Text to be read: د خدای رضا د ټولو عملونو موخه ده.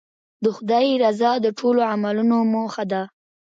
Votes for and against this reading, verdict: 2, 1, accepted